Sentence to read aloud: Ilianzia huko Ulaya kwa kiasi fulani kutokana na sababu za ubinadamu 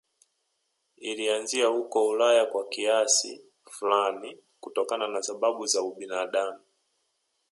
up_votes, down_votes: 2, 1